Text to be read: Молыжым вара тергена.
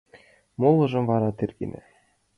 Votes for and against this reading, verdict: 2, 0, accepted